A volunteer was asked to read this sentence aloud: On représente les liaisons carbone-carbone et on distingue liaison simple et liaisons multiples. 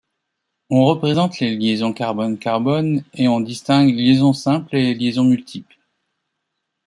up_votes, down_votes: 1, 2